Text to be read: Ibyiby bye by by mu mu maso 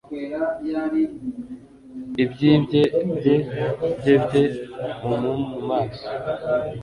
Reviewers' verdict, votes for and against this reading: rejected, 0, 2